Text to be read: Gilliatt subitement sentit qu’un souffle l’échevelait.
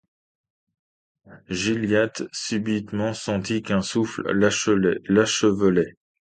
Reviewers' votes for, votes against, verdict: 0, 2, rejected